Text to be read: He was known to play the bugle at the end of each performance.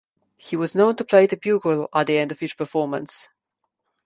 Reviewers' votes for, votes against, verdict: 2, 0, accepted